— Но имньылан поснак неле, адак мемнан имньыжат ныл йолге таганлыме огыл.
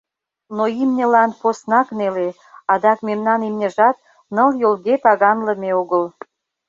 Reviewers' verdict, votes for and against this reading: accepted, 2, 0